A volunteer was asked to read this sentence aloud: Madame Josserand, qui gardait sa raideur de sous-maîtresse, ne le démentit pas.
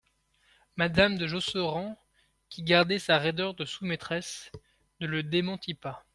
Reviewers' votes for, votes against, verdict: 1, 2, rejected